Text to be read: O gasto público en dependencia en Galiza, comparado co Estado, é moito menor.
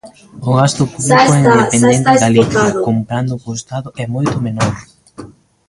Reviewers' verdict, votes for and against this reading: rejected, 0, 2